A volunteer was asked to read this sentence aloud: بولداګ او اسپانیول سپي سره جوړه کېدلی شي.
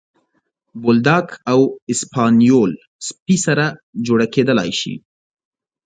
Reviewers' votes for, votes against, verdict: 2, 1, accepted